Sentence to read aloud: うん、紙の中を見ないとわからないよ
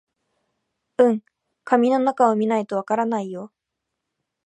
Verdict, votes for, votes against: rejected, 0, 2